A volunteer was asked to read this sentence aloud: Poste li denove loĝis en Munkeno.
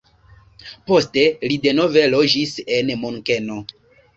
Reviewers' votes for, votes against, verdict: 2, 0, accepted